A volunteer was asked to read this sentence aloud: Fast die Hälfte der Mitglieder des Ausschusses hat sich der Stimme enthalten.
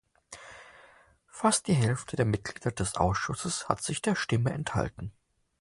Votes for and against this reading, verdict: 2, 0, accepted